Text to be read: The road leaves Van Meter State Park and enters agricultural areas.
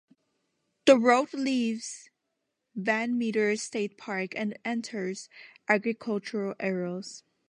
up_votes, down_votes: 0, 2